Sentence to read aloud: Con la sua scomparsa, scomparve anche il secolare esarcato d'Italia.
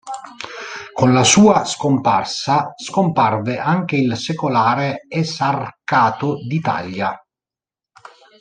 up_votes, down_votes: 1, 2